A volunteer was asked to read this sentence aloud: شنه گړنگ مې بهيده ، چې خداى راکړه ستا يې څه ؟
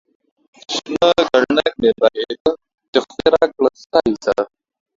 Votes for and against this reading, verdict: 0, 2, rejected